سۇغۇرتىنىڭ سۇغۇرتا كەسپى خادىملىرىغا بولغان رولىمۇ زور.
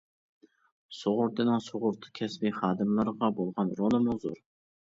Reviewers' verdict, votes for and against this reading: accepted, 2, 1